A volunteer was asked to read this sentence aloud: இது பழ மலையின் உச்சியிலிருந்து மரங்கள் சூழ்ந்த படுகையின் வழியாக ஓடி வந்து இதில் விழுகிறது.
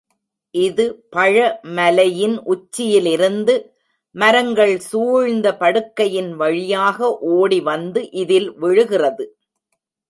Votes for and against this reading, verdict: 0, 2, rejected